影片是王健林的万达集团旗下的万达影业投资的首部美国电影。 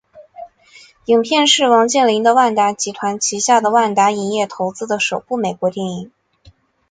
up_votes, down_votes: 0, 2